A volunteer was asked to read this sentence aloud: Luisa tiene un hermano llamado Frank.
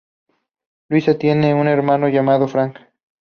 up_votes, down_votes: 2, 0